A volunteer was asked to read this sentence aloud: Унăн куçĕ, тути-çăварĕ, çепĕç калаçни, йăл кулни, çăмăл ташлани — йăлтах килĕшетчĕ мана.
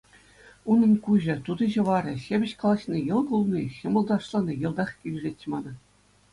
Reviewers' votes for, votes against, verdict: 2, 0, accepted